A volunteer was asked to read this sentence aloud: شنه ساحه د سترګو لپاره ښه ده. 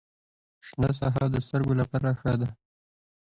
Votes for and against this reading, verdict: 1, 2, rejected